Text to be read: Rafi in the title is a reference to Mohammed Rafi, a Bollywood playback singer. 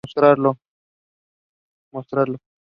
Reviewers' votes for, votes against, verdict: 0, 2, rejected